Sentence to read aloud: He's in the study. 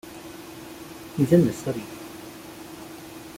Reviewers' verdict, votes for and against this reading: rejected, 0, 2